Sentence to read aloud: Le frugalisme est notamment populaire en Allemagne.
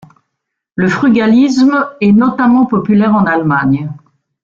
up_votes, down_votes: 2, 0